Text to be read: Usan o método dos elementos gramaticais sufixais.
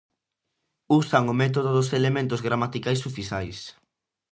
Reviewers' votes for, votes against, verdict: 2, 0, accepted